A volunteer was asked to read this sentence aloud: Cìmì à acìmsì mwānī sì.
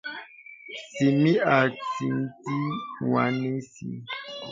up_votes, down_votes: 0, 2